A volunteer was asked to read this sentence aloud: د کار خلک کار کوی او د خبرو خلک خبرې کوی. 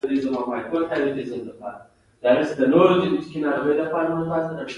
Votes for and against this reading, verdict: 2, 0, accepted